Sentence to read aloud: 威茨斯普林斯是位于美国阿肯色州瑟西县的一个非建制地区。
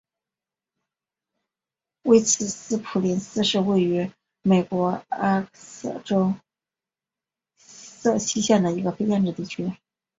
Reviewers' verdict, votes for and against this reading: rejected, 0, 2